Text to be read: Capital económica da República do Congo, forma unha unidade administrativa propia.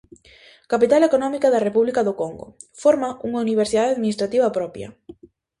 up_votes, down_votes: 0, 2